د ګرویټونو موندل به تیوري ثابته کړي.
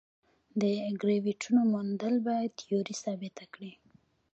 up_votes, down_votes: 0, 2